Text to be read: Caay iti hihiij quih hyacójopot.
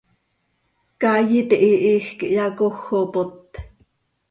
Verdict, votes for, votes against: accepted, 2, 0